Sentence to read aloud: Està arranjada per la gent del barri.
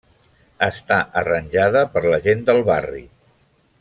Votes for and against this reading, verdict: 3, 0, accepted